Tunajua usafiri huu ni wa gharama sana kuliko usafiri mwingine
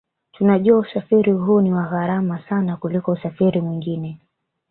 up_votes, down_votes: 1, 2